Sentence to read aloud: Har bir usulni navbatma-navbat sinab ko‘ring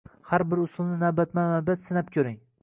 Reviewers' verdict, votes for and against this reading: accepted, 2, 0